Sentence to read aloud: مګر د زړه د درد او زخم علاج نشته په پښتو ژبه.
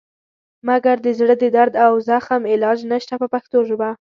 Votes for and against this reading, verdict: 2, 0, accepted